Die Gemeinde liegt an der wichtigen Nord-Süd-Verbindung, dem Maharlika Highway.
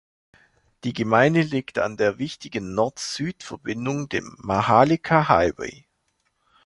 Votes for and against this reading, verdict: 2, 0, accepted